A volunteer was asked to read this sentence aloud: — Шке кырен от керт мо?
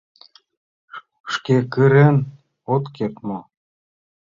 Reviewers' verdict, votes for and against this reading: rejected, 1, 2